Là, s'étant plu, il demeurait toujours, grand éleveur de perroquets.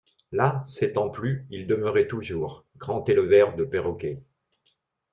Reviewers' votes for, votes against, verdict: 0, 2, rejected